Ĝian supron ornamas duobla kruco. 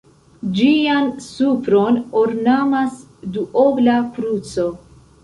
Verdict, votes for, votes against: rejected, 0, 2